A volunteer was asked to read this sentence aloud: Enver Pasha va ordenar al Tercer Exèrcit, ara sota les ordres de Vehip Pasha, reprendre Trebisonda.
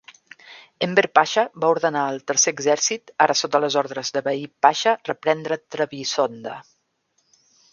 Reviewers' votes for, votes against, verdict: 2, 0, accepted